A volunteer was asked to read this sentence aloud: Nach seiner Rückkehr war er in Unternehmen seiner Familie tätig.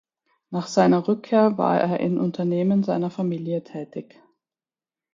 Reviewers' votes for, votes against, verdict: 4, 0, accepted